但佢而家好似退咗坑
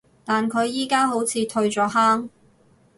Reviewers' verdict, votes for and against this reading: rejected, 2, 2